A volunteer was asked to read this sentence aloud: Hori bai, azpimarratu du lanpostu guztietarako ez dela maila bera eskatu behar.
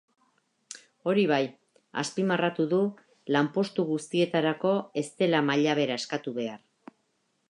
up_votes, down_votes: 2, 0